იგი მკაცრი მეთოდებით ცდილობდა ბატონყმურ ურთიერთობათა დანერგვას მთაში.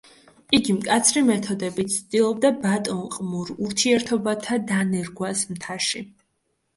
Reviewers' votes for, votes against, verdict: 2, 0, accepted